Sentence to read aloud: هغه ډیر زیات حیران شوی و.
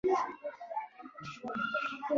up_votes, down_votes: 0, 2